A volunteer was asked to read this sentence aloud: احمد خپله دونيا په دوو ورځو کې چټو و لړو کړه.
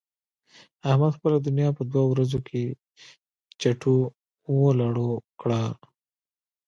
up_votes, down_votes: 1, 2